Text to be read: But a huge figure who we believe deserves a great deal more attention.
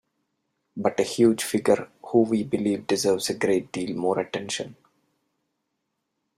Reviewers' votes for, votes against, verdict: 2, 0, accepted